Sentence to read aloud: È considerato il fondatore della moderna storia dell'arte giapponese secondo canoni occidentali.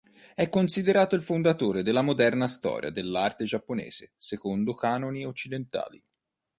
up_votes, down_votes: 2, 0